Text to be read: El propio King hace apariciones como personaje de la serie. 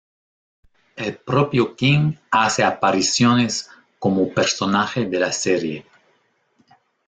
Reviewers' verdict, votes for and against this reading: rejected, 1, 2